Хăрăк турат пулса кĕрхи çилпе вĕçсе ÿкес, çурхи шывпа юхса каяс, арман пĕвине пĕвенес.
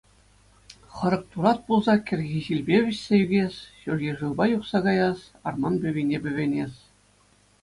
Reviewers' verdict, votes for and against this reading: accepted, 2, 0